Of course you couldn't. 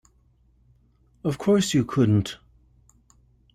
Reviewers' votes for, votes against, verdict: 2, 0, accepted